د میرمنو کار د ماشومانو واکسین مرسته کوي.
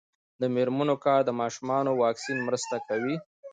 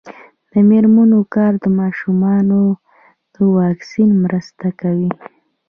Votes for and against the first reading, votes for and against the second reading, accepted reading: 2, 1, 0, 2, first